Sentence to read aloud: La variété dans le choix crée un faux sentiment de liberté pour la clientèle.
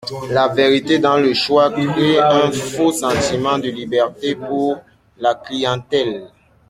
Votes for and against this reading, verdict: 1, 2, rejected